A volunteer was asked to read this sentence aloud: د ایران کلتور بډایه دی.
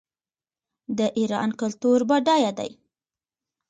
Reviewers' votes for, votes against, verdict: 2, 0, accepted